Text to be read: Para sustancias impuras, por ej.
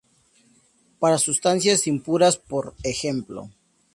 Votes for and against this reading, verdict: 2, 0, accepted